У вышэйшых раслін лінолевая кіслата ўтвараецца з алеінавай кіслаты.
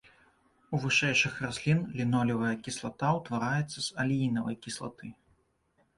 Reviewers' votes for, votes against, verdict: 2, 0, accepted